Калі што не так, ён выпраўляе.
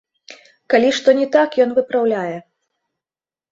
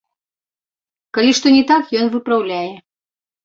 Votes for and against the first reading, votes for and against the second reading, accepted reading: 0, 2, 2, 0, second